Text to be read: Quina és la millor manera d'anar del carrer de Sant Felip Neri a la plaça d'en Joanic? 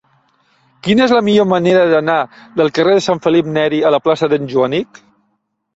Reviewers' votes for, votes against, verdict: 3, 0, accepted